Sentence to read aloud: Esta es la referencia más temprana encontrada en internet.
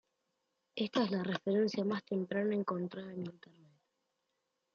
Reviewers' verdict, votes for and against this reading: rejected, 1, 2